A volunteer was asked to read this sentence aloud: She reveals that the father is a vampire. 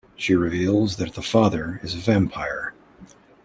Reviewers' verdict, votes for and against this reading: accepted, 2, 0